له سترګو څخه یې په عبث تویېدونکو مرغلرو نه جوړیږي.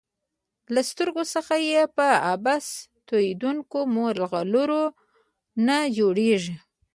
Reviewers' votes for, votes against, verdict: 2, 0, accepted